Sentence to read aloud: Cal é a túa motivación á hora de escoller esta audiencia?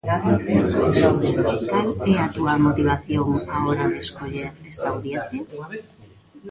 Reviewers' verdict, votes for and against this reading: rejected, 1, 2